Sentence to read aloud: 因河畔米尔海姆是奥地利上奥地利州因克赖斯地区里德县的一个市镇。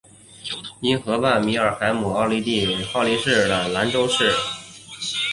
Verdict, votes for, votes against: accepted, 2, 0